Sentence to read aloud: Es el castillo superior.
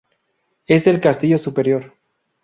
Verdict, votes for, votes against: rejected, 0, 2